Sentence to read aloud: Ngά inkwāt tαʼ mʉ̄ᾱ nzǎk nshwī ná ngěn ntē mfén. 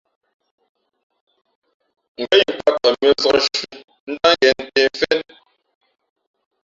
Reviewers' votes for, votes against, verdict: 2, 3, rejected